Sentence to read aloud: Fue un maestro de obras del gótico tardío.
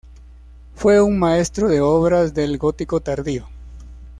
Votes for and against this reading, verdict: 2, 0, accepted